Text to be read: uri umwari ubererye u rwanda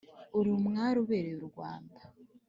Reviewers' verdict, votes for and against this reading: accepted, 2, 1